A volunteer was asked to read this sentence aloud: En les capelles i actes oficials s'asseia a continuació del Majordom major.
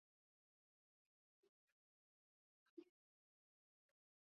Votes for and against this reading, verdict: 0, 2, rejected